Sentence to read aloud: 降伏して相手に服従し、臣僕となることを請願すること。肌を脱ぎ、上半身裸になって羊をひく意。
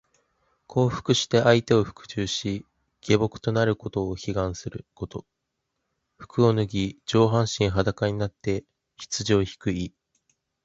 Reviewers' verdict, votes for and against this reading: accepted, 2, 1